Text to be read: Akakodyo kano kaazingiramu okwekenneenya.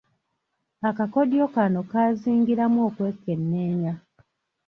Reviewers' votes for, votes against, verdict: 2, 1, accepted